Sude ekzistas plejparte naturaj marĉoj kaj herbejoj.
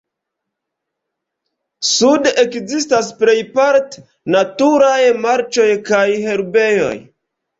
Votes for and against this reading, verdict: 0, 2, rejected